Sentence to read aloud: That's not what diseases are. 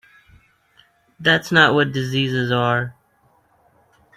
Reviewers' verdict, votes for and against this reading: accepted, 2, 0